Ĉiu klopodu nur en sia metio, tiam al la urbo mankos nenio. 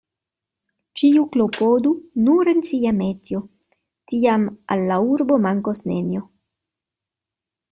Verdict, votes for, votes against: rejected, 1, 2